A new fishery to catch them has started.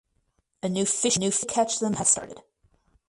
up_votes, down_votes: 0, 4